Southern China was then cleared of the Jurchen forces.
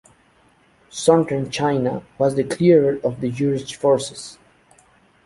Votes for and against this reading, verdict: 0, 2, rejected